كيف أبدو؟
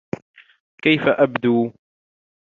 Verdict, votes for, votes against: accepted, 2, 1